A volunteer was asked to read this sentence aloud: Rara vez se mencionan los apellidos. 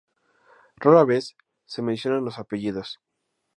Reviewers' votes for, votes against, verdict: 2, 0, accepted